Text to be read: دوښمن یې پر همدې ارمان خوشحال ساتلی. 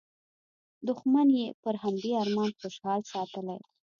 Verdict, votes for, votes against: accepted, 2, 0